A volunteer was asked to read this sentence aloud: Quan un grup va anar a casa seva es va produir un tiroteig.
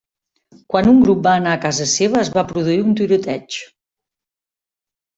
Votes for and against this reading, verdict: 3, 0, accepted